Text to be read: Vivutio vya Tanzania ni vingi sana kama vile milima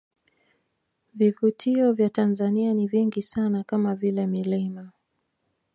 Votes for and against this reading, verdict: 0, 2, rejected